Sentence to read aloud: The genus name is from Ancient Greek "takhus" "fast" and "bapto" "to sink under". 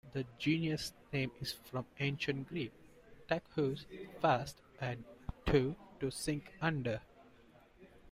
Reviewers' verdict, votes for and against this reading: rejected, 1, 2